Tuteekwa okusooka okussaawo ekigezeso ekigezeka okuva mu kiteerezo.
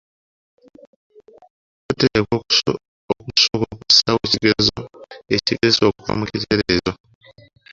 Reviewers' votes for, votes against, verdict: 0, 2, rejected